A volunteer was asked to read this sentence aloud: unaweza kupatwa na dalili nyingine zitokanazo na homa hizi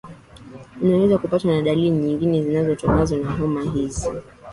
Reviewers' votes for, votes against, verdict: 2, 3, rejected